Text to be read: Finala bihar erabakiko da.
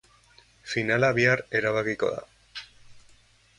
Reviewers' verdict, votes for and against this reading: accepted, 2, 0